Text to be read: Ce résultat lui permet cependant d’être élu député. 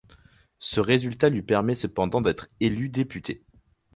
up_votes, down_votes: 4, 0